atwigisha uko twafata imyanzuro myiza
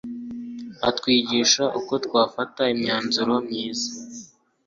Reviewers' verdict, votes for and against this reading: accepted, 3, 0